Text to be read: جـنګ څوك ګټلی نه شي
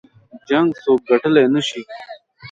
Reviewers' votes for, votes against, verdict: 2, 0, accepted